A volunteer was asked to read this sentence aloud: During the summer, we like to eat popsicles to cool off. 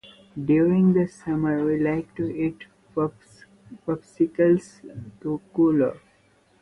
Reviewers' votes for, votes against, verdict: 0, 2, rejected